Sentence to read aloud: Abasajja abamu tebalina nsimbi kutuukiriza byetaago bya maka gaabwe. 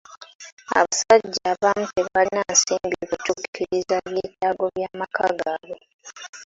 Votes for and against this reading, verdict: 2, 0, accepted